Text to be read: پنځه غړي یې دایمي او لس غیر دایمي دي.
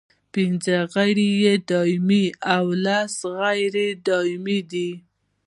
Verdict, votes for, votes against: accepted, 2, 1